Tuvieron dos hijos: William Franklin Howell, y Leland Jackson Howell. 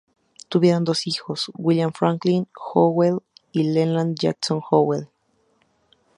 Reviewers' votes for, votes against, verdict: 2, 0, accepted